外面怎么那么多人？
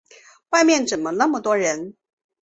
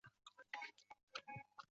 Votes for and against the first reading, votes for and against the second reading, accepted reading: 2, 0, 0, 2, first